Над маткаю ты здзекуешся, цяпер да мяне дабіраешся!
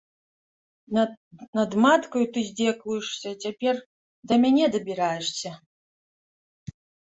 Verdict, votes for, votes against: rejected, 0, 2